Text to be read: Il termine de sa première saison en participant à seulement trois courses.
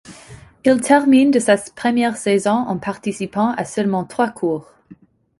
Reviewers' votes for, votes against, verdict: 0, 2, rejected